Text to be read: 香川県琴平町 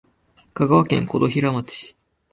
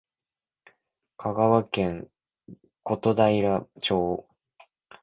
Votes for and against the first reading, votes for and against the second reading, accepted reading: 8, 0, 4, 5, first